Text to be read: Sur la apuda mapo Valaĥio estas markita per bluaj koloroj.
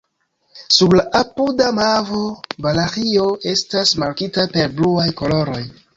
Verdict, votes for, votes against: rejected, 1, 2